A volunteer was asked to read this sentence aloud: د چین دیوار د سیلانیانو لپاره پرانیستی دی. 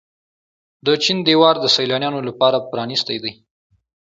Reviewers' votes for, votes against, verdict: 2, 0, accepted